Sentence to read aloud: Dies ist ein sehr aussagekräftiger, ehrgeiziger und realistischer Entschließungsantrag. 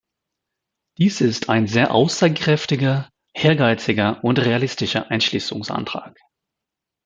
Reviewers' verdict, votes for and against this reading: rejected, 1, 2